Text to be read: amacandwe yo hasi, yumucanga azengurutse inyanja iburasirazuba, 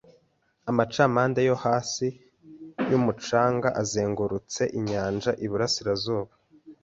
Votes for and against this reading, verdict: 1, 2, rejected